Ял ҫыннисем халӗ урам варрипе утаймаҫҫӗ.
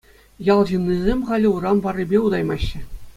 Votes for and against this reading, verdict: 2, 0, accepted